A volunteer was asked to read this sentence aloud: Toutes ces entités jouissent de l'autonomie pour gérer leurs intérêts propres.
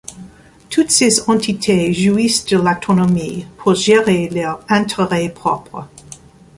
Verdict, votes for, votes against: accepted, 2, 1